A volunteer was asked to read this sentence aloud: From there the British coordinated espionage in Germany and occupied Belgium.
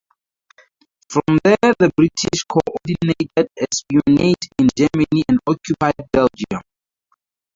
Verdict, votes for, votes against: rejected, 0, 4